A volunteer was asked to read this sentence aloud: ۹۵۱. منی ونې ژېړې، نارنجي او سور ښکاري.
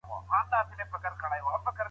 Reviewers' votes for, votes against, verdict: 0, 2, rejected